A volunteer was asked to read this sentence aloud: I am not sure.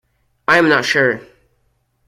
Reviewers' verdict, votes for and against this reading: accepted, 2, 0